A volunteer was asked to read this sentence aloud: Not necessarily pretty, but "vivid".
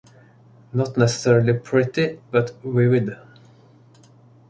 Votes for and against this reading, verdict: 1, 2, rejected